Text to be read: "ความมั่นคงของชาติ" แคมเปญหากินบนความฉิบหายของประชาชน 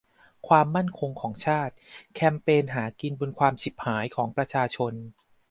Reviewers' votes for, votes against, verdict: 2, 0, accepted